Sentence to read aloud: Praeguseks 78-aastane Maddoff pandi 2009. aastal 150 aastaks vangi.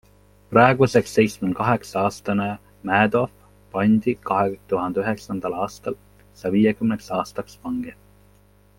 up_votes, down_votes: 0, 2